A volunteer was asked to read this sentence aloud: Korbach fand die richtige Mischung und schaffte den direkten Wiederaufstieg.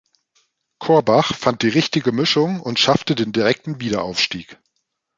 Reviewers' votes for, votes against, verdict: 2, 0, accepted